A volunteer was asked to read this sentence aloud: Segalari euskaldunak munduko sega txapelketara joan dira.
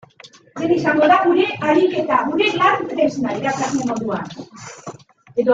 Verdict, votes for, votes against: rejected, 0, 2